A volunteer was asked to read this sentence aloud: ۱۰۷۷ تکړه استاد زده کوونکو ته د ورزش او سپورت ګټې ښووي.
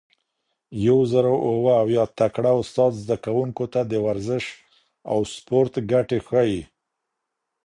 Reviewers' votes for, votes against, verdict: 0, 2, rejected